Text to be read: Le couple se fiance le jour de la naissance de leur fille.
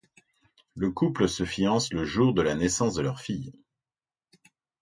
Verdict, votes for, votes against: accepted, 2, 0